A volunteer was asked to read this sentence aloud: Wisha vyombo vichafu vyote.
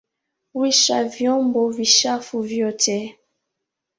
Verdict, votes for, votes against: accepted, 2, 1